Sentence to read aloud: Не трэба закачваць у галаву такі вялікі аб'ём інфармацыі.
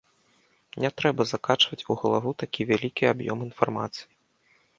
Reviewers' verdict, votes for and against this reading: accepted, 2, 0